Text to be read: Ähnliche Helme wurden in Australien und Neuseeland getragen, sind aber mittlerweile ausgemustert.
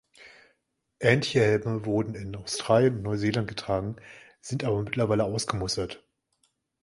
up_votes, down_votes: 1, 2